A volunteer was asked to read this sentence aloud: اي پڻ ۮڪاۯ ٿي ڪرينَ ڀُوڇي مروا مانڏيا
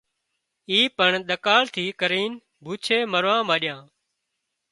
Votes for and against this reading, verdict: 2, 0, accepted